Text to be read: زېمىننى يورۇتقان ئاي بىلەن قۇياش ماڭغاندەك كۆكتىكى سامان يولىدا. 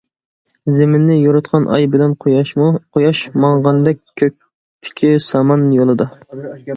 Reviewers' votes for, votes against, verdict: 0, 2, rejected